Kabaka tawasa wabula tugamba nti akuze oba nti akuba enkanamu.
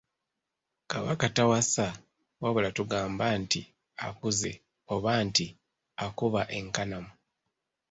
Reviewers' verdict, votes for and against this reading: accepted, 2, 0